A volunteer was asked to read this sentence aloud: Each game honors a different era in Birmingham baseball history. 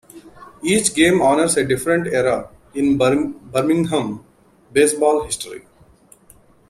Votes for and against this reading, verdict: 0, 2, rejected